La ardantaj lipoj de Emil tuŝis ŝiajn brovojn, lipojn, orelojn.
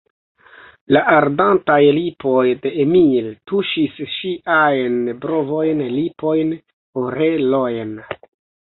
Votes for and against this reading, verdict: 2, 1, accepted